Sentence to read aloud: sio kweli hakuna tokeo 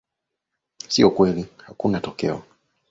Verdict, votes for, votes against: accepted, 2, 0